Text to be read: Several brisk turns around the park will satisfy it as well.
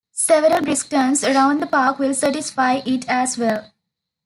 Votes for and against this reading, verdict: 2, 0, accepted